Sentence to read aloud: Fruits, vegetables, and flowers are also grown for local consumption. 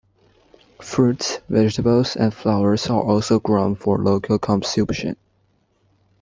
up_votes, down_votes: 2, 0